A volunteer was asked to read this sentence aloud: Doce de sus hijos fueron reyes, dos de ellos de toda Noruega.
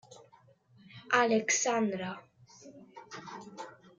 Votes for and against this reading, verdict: 0, 2, rejected